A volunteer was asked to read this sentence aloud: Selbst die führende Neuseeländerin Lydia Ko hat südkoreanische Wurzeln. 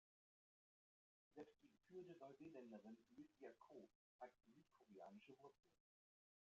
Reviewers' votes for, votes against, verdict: 0, 2, rejected